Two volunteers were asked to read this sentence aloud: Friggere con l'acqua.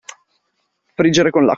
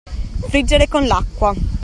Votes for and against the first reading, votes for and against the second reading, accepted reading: 0, 2, 2, 0, second